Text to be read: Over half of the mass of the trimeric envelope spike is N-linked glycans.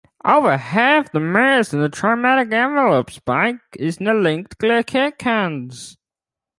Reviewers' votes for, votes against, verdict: 0, 2, rejected